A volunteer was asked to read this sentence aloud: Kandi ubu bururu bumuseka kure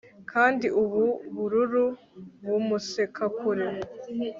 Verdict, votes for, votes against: accepted, 2, 0